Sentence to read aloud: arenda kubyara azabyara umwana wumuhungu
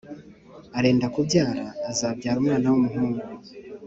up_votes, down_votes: 3, 0